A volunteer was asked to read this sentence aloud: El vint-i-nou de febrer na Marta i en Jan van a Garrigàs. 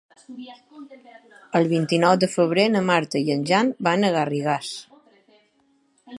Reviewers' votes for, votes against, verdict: 5, 2, accepted